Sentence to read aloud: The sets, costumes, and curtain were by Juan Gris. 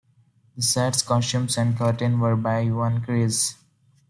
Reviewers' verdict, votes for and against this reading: accepted, 2, 0